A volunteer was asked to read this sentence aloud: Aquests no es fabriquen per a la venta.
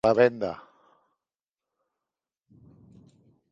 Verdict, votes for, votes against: rejected, 0, 2